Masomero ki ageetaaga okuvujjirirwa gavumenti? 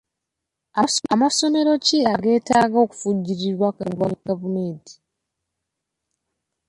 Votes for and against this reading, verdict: 0, 2, rejected